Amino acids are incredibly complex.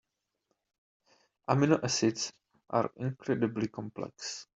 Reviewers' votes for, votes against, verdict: 2, 0, accepted